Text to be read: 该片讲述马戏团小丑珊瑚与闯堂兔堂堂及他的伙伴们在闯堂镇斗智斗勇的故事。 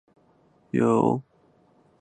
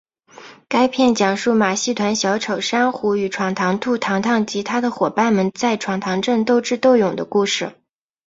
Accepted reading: second